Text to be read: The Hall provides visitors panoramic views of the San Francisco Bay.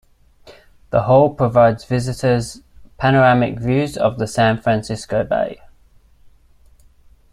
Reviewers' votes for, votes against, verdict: 2, 0, accepted